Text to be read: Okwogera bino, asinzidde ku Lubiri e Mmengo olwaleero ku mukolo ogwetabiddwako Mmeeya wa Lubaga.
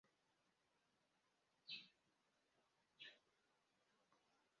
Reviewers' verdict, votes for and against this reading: rejected, 0, 2